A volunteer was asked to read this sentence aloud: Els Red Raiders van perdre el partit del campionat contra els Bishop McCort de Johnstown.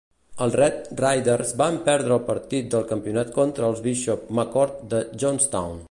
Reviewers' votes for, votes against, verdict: 0, 2, rejected